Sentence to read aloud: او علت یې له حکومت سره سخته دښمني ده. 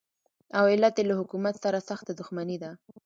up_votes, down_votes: 1, 2